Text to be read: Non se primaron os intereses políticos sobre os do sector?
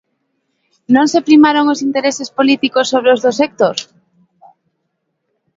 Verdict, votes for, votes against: accepted, 3, 0